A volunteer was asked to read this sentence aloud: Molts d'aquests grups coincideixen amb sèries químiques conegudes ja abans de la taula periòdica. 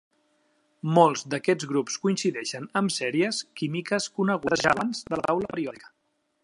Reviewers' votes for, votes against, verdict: 0, 2, rejected